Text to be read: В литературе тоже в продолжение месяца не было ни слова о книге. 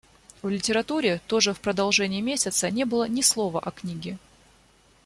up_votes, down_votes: 2, 0